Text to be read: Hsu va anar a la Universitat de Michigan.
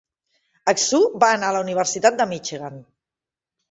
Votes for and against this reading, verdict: 2, 0, accepted